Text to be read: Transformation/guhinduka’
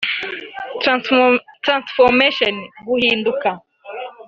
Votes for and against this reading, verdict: 0, 2, rejected